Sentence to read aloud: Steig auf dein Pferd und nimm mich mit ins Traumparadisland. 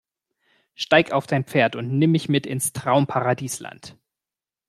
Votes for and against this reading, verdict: 2, 0, accepted